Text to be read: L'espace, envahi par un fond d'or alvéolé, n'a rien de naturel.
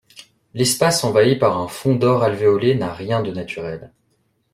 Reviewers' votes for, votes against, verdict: 2, 0, accepted